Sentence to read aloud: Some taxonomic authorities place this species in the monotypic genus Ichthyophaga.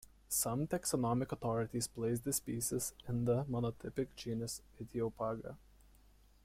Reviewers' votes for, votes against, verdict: 3, 0, accepted